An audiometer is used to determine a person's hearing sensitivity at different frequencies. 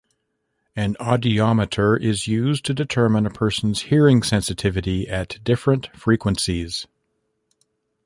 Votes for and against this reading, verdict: 1, 2, rejected